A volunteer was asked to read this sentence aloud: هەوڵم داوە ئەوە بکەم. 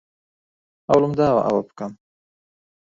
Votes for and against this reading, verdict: 1, 2, rejected